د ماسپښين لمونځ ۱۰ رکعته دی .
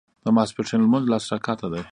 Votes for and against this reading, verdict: 0, 2, rejected